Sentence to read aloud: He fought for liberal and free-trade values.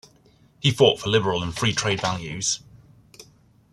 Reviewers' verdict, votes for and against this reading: accepted, 2, 0